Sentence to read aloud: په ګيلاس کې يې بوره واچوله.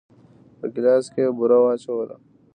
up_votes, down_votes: 1, 2